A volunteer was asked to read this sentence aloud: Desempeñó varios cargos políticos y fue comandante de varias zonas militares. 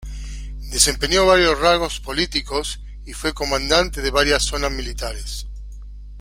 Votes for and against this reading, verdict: 1, 2, rejected